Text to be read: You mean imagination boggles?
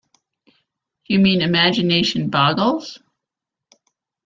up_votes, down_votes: 3, 0